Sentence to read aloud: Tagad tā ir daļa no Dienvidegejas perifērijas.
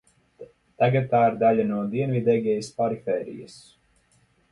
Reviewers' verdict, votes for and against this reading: rejected, 0, 2